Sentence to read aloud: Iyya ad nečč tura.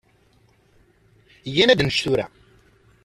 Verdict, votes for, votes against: rejected, 1, 2